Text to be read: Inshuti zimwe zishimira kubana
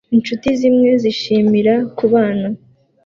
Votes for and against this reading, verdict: 2, 1, accepted